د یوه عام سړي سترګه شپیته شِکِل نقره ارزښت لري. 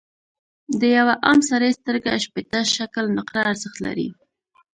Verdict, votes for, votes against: rejected, 1, 2